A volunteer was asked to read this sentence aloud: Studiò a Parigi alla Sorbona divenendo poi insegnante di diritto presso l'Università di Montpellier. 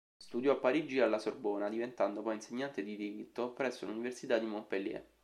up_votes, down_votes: 0, 2